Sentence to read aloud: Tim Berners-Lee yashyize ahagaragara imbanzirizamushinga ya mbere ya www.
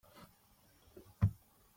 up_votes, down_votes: 0, 2